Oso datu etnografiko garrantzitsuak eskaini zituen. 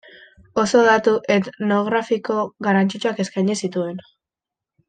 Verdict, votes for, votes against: rejected, 1, 2